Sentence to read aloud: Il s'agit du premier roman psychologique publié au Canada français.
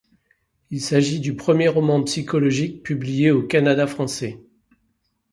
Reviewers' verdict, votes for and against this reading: accepted, 2, 0